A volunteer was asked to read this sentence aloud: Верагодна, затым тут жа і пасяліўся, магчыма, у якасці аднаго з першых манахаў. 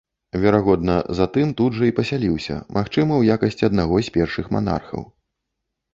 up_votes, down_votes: 0, 2